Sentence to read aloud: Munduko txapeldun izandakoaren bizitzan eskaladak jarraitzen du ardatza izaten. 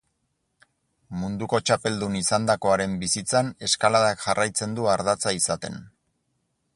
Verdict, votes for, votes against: accepted, 4, 0